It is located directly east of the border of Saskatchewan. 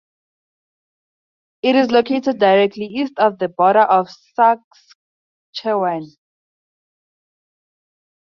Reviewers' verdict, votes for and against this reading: rejected, 0, 4